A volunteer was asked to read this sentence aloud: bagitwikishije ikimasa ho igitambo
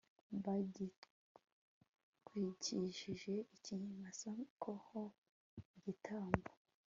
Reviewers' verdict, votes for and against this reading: rejected, 1, 2